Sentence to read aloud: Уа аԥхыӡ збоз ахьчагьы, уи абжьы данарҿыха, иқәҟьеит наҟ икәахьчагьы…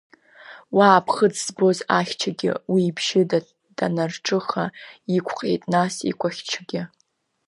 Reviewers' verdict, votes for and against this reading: accepted, 2, 0